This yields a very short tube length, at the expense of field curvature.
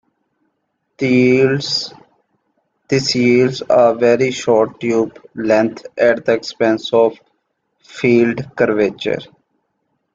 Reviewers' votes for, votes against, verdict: 1, 2, rejected